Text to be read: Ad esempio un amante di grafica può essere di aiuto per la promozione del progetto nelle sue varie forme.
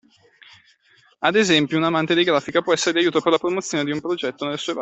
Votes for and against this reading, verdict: 0, 2, rejected